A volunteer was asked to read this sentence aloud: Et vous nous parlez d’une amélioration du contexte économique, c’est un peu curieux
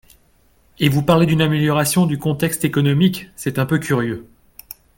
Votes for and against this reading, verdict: 1, 3, rejected